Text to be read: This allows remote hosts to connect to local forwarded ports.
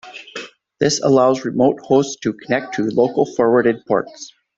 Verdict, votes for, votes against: accepted, 2, 0